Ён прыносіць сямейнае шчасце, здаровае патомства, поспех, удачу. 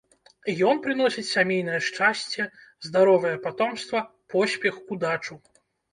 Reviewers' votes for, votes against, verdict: 2, 0, accepted